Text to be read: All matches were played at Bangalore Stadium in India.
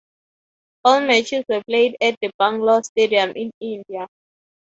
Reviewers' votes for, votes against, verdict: 0, 3, rejected